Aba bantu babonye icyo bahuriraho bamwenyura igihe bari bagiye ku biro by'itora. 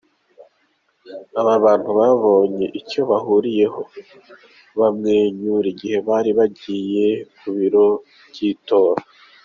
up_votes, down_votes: 0, 2